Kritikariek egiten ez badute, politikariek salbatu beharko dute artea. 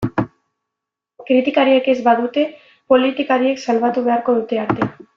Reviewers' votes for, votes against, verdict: 1, 2, rejected